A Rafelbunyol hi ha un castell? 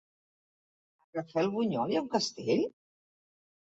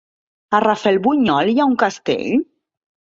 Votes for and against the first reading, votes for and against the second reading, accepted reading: 0, 2, 9, 0, second